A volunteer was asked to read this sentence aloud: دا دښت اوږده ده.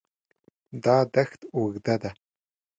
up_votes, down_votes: 2, 0